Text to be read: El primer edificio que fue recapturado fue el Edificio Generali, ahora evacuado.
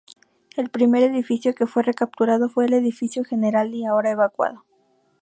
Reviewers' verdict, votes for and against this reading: accepted, 2, 0